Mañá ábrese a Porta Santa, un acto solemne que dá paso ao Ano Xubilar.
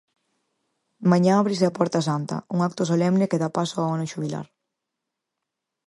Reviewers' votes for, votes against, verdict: 4, 0, accepted